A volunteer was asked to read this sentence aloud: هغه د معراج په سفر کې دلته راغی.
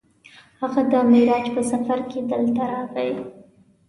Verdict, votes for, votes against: accepted, 2, 0